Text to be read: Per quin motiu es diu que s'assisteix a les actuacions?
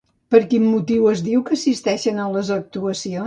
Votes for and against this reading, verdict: 0, 2, rejected